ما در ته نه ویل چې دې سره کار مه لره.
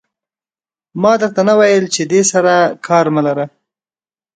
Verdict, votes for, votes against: accepted, 2, 0